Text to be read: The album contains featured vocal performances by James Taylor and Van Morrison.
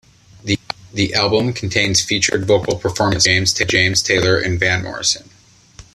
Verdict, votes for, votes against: rejected, 1, 2